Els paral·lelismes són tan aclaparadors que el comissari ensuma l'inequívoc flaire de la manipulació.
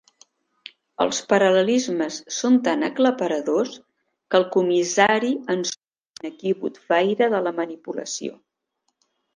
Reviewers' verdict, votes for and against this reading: rejected, 1, 2